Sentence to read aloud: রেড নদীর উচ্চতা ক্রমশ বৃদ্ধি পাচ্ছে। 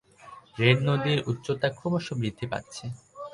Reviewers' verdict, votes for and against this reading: accepted, 2, 0